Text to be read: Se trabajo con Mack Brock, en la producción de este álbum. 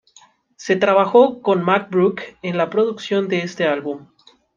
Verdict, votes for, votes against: accepted, 2, 0